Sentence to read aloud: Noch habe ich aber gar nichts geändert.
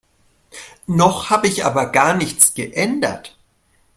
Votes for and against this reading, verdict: 2, 0, accepted